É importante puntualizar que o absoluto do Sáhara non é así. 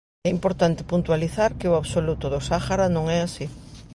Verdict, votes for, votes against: accepted, 2, 0